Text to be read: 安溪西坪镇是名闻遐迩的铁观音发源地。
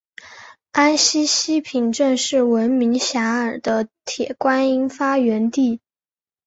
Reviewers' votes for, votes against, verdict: 6, 0, accepted